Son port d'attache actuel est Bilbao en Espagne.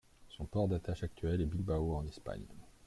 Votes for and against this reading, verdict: 1, 2, rejected